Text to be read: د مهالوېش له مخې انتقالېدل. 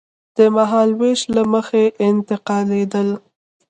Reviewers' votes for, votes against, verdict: 2, 0, accepted